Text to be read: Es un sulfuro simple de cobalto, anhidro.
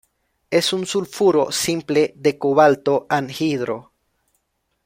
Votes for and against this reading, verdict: 1, 2, rejected